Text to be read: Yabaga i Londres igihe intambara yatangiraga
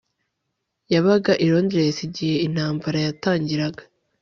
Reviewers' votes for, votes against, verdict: 4, 0, accepted